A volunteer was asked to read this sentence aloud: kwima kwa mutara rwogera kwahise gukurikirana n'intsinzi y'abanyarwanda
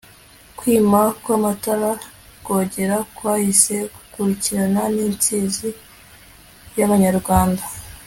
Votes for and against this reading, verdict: 2, 1, accepted